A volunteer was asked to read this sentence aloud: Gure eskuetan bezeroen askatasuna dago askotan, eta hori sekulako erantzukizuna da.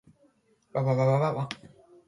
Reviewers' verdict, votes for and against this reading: rejected, 0, 2